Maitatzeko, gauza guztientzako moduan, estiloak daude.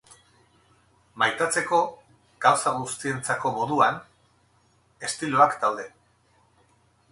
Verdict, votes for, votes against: accepted, 4, 0